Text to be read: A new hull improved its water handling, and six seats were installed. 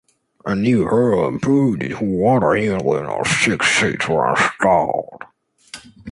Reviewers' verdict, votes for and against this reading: rejected, 0, 2